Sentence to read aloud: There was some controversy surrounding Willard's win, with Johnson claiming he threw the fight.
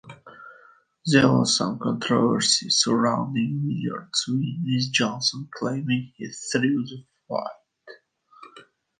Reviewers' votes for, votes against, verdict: 2, 0, accepted